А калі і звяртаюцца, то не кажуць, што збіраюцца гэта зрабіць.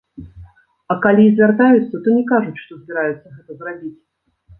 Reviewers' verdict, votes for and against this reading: rejected, 1, 2